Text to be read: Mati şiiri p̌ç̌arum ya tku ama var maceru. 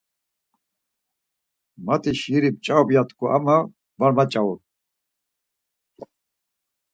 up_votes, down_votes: 0, 4